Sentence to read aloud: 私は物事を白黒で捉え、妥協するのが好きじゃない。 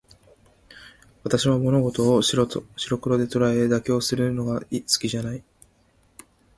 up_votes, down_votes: 2, 3